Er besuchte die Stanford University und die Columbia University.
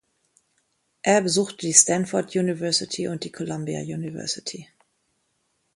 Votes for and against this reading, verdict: 1, 2, rejected